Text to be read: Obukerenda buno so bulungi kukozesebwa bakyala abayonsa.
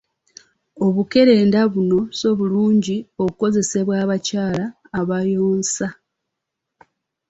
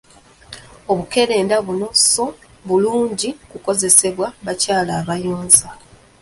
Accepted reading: first